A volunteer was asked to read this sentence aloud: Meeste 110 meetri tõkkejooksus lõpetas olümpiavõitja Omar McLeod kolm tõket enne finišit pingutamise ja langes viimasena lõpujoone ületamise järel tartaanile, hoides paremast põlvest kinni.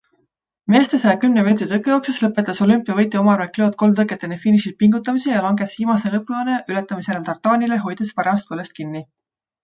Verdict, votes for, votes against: rejected, 0, 2